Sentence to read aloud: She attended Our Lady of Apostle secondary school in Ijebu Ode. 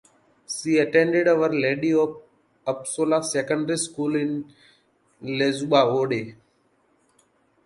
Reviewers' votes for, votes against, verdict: 0, 2, rejected